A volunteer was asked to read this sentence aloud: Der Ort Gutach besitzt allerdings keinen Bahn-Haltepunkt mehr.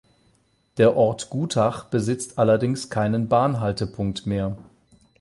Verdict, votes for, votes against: accepted, 8, 0